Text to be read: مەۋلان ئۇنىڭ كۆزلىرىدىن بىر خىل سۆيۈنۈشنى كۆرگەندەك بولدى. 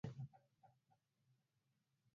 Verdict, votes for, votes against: rejected, 0, 4